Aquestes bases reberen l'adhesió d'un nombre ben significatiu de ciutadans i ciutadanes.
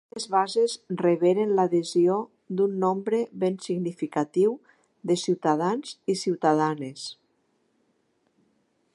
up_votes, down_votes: 0, 3